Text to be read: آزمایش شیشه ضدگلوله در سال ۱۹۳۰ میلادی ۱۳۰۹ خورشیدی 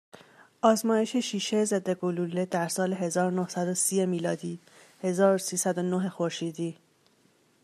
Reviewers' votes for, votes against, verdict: 0, 2, rejected